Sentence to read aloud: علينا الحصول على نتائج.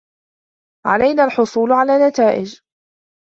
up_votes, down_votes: 0, 2